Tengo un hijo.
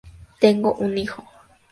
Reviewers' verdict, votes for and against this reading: accepted, 2, 0